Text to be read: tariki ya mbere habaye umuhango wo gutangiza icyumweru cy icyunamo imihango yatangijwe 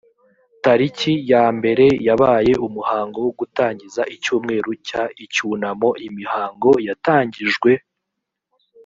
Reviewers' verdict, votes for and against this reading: rejected, 2, 3